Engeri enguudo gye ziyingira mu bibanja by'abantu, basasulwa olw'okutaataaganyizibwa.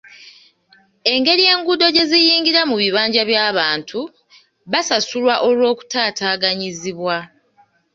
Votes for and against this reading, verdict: 2, 0, accepted